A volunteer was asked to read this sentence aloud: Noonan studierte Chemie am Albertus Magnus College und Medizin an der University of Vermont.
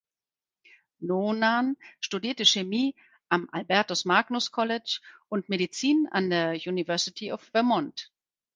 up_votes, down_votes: 4, 0